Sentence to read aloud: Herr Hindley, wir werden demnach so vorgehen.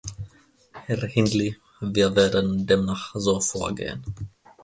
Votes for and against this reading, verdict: 2, 0, accepted